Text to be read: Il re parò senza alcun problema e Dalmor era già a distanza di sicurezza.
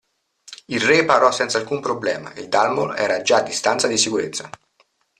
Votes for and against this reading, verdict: 2, 0, accepted